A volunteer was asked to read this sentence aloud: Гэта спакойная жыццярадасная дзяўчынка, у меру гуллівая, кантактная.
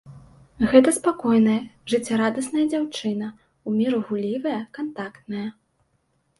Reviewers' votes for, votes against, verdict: 0, 2, rejected